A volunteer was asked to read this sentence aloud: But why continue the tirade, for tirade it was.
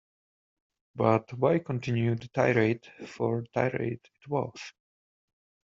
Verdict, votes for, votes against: accepted, 3, 0